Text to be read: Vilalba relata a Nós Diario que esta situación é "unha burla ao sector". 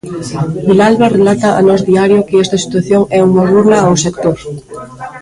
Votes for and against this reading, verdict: 2, 1, accepted